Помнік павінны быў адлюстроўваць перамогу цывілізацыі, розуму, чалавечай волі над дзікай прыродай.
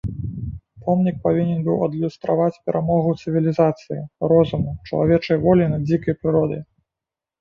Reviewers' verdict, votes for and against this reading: rejected, 1, 2